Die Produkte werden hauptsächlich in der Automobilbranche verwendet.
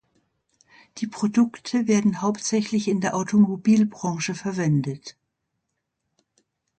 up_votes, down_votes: 2, 0